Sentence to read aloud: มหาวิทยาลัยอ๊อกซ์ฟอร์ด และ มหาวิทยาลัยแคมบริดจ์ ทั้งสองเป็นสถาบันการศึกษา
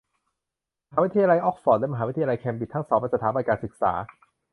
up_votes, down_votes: 0, 2